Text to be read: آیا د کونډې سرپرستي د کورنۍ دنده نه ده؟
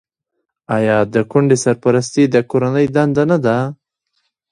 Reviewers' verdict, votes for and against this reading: accepted, 2, 0